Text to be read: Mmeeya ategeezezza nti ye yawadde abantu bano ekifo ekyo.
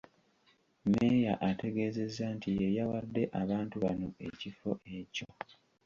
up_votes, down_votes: 2, 0